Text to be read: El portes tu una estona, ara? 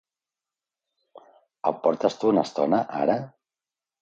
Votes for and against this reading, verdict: 2, 0, accepted